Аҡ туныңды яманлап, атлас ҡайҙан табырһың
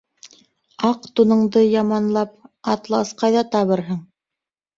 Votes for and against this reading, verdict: 1, 2, rejected